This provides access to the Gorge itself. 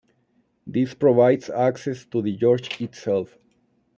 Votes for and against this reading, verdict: 0, 2, rejected